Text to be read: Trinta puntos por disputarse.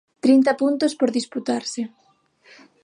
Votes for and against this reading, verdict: 6, 0, accepted